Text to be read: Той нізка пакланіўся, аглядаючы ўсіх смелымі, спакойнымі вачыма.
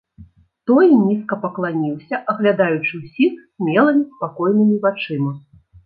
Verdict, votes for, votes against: rejected, 1, 2